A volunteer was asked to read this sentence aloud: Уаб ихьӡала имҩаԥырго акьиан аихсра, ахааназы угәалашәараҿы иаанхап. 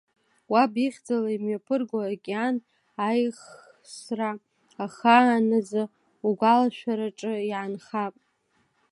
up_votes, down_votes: 0, 2